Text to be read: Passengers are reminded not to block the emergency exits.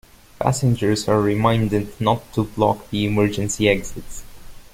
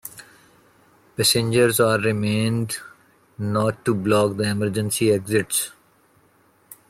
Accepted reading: first